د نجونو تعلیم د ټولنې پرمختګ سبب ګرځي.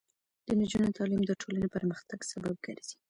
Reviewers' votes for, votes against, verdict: 2, 0, accepted